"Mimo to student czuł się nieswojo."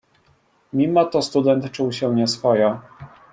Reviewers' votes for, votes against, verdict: 2, 0, accepted